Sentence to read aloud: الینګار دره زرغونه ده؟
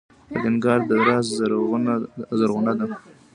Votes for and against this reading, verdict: 1, 2, rejected